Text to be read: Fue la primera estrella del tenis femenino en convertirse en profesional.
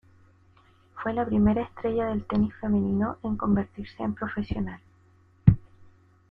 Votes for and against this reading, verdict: 2, 0, accepted